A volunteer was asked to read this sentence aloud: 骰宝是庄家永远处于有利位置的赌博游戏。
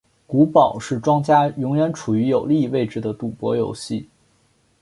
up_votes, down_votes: 2, 0